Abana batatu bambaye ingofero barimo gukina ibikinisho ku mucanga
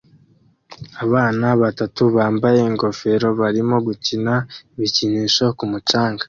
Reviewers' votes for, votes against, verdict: 2, 0, accepted